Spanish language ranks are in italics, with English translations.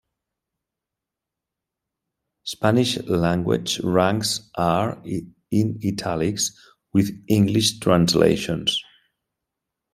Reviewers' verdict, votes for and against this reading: accepted, 2, 0